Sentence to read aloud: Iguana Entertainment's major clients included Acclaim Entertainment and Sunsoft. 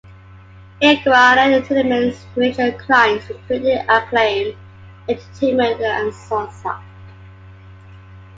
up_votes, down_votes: 0, 2